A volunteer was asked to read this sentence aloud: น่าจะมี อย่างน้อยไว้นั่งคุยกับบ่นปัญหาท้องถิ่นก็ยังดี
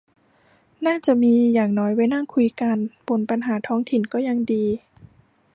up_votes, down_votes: 0, 2